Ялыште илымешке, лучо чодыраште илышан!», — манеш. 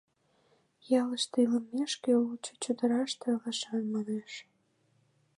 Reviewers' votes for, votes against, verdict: 2, 0, accepted